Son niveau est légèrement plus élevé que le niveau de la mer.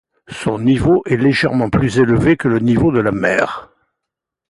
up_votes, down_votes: 2, 0